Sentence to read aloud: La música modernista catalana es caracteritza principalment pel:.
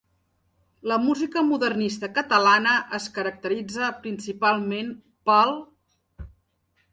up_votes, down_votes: 3, 0